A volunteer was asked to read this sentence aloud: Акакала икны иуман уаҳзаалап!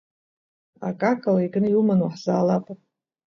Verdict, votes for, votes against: accepted, 2, 0